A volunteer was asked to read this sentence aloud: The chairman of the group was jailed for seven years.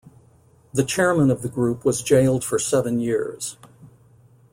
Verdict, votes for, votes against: accepted, 2, 0